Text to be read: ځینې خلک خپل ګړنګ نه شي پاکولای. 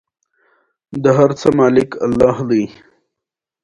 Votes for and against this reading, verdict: 1, 2, rejected